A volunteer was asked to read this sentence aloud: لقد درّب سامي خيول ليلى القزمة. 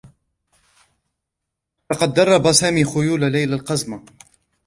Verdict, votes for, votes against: rejected, 2, 3